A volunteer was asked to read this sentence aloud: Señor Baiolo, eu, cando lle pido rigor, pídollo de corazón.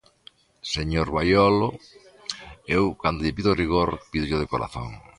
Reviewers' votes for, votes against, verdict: 2, 0, accepted